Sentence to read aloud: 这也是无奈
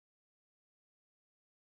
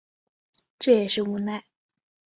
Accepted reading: second